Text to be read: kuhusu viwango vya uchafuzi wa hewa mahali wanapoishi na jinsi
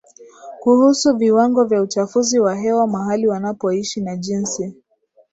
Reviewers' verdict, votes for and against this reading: rejected, 0, 2